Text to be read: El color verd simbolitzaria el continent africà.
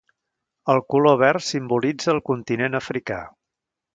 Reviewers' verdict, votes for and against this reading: rejected, 1, 2